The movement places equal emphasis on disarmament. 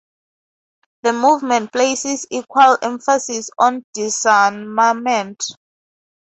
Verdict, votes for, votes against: accepted, 2, 0